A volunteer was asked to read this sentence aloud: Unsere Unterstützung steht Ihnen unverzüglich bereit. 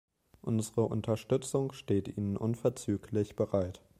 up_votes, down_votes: 2, 0